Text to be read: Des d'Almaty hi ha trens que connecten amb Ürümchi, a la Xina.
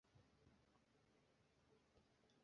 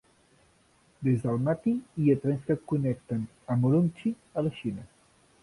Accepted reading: second